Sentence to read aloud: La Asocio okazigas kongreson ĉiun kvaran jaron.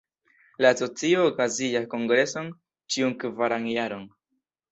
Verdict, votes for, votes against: rejected, 0, 2